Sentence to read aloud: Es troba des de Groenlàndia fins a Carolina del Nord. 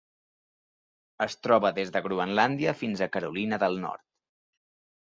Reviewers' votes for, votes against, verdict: 3, 0, accepted